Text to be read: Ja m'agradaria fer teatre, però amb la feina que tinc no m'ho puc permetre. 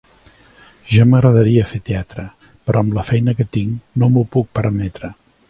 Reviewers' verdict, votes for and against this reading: accepted, 2, 0